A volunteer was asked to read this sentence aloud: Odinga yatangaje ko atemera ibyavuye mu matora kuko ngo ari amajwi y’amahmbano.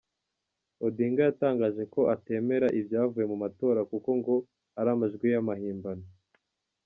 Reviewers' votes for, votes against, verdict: 2, 0, accepted